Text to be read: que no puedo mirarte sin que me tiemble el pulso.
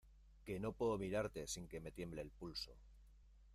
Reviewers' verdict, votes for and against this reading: accepted, 2, 0